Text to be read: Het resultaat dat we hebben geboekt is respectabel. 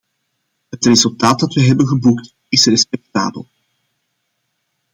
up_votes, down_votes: 2, 0